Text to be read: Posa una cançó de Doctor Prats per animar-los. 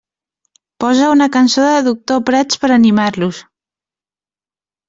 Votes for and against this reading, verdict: 2, 0, accepted